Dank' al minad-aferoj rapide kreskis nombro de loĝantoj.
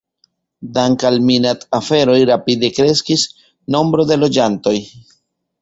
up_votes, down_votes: 2, 1